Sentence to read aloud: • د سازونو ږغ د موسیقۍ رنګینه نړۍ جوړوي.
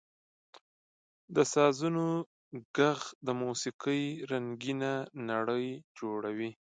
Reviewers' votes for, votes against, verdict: 1, 2, rejected